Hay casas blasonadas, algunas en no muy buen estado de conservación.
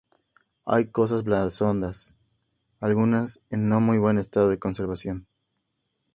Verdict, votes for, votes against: rejected, 0, 4